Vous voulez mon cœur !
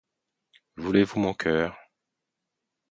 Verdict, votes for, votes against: rejected, 2, 4